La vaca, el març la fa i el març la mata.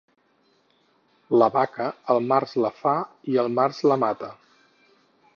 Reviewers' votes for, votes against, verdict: 4, 0, accepted